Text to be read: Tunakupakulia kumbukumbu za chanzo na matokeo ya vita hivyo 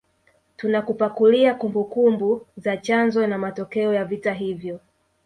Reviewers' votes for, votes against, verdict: 1, 2, rejected